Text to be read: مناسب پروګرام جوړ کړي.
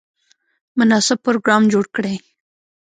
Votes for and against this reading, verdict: 2, 0, accepted